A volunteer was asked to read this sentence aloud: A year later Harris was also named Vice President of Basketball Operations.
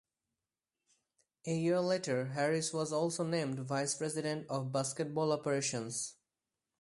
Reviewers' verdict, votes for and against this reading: accepted, 4, 0